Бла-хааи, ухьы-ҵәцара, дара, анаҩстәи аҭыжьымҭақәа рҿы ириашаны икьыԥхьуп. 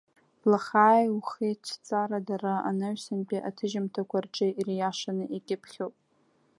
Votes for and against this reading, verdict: 1, 2, rejected